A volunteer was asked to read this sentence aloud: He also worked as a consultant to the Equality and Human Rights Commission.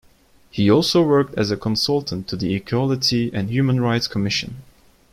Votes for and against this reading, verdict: 2, 0, accepted